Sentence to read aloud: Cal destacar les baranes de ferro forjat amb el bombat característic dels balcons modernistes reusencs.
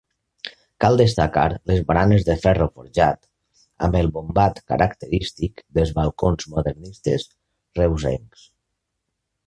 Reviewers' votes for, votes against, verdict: 3, 0, accepted